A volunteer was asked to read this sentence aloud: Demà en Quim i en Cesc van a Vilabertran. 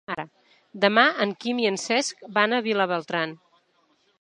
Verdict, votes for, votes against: rejected, 0, 2